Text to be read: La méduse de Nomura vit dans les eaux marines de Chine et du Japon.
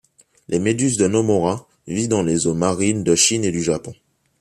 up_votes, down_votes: 2, 3